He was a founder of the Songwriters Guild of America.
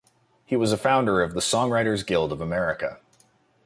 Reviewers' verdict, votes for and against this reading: accepted, 2, 0